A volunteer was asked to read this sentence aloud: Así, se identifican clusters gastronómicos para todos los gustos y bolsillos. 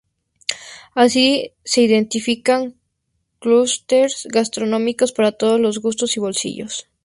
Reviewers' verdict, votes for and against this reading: rejected, 0, 2